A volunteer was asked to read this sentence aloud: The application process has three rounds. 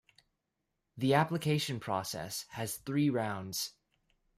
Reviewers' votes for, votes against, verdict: 1, 2, rejected